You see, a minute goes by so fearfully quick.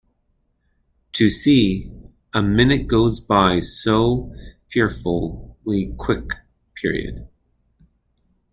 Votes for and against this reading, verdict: 0, 2, rejected